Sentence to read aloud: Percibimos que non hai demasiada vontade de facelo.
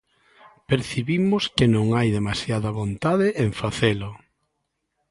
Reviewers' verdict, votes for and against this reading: rejected, 0, 2